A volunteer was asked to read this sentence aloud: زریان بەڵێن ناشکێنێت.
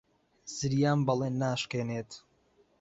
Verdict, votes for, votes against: accepted, 2, 0